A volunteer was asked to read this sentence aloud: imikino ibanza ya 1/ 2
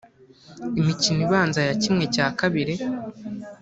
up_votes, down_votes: 0, 2